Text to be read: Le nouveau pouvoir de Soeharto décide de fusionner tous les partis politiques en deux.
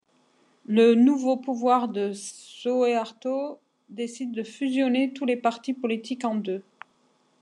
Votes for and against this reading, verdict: 2, 0, accepted